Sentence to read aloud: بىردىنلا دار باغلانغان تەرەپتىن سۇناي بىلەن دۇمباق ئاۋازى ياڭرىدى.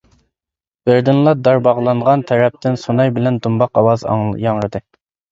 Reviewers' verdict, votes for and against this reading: rejected, 0, 2